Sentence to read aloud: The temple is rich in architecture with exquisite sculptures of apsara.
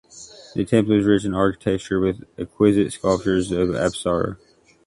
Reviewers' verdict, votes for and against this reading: rejected, 0, 2